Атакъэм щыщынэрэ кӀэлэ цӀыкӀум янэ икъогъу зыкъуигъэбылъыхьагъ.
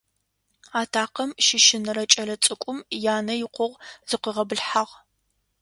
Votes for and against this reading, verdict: 2, 0, accepted